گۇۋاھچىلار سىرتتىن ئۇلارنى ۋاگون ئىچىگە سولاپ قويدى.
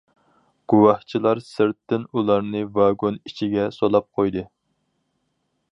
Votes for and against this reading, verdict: 4, 0, accepted